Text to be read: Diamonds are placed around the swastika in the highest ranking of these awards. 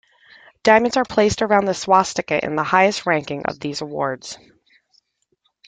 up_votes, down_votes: 2, 0